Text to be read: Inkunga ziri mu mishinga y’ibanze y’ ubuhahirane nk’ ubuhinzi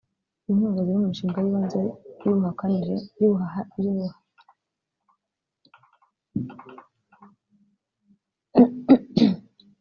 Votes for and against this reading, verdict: 1, 2, rejected